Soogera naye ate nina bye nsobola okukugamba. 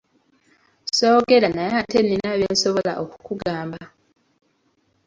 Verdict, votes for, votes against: accepted, 2, 0